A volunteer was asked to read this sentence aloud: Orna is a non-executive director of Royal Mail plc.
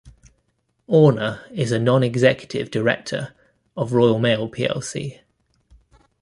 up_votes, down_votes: 2, 0